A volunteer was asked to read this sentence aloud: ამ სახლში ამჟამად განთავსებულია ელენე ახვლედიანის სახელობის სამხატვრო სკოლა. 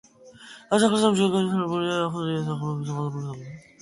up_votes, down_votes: 0, 2